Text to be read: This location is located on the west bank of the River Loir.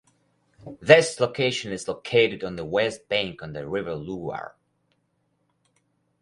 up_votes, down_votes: 2, 2